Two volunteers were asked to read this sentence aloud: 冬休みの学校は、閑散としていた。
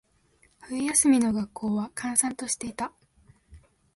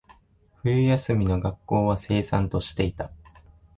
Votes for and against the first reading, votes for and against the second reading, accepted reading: 3, 0, 2, 3, first